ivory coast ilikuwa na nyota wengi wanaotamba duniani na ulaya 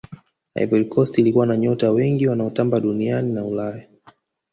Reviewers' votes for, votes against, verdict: 2, 0, accepted